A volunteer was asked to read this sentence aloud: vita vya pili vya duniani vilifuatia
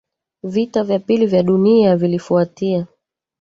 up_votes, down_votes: 1, 2